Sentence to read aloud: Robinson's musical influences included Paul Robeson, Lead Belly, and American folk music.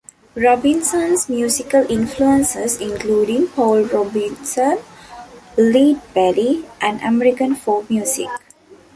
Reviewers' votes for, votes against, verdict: 0, 2, rejected